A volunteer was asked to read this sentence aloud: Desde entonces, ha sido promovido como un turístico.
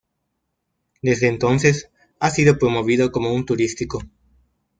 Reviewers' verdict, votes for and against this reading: accepted, 2, 0